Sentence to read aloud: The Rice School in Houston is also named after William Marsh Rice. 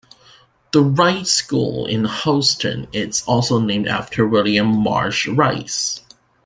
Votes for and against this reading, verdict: 2, 0, accepted